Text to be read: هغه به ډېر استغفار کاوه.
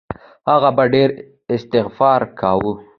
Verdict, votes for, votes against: accepted, 2, 1